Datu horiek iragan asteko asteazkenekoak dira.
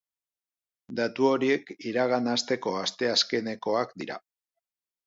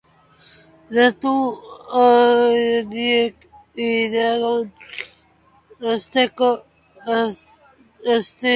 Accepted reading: first